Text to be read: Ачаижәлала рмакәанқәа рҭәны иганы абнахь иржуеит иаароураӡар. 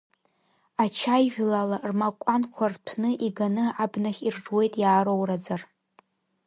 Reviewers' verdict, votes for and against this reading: rejected, 1, 2